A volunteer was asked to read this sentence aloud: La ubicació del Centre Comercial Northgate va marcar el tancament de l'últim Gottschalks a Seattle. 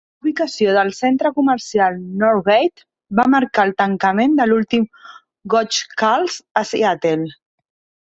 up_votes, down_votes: 1, 3